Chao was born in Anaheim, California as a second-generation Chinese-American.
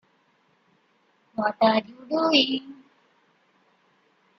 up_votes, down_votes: 0, 2